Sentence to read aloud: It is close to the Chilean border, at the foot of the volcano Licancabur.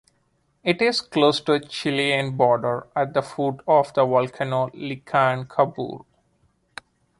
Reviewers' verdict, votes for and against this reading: accepted, 2, 0